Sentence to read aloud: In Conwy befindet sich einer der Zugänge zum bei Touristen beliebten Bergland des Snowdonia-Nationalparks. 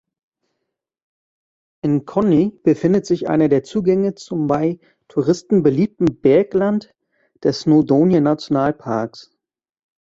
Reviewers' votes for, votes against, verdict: 0, 2, rejected